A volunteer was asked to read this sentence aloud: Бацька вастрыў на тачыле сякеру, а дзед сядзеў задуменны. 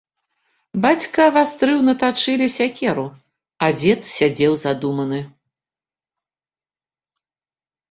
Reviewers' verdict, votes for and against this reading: rejected, 1, 2